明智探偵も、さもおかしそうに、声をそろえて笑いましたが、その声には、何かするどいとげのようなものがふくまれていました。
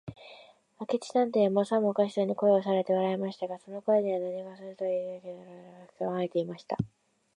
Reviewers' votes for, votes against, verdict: 1, 2, rejected